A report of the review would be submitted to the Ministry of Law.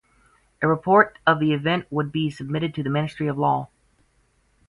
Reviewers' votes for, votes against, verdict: 0, 4, rejected